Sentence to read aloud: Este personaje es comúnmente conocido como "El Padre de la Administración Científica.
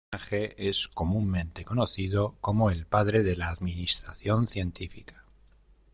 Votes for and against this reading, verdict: 0, 2, rejected